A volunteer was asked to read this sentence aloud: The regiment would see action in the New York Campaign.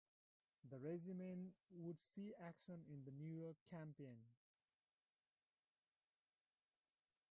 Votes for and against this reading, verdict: 2, 0, accepted